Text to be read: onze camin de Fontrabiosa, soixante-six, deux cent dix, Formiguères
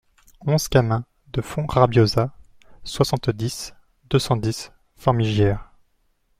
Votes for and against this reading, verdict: 0, 2, rejected